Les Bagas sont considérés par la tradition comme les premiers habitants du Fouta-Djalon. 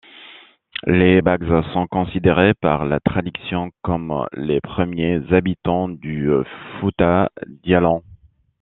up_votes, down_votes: 1, 2